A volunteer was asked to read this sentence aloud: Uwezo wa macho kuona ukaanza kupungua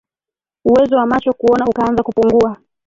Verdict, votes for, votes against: rejected, 0, 2